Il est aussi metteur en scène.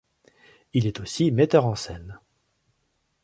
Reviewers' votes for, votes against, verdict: 3, 0, accepted